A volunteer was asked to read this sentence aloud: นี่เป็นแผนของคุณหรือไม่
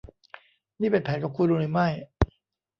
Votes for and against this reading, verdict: 2, 1, accepted